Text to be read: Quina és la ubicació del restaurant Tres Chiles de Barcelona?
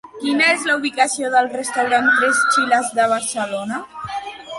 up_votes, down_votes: 2, 1